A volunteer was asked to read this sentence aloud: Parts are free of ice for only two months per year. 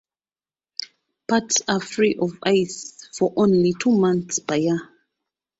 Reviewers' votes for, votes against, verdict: 2, 1, accepted